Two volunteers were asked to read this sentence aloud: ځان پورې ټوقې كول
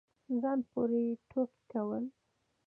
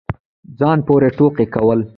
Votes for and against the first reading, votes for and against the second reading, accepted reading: 2, 1, 1, 2, first